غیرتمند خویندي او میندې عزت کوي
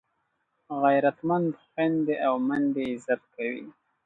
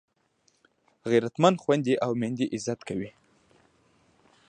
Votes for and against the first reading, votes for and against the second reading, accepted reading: 2, 0, 1, 2, first